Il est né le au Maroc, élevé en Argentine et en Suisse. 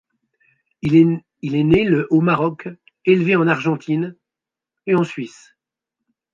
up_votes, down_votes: 0, 2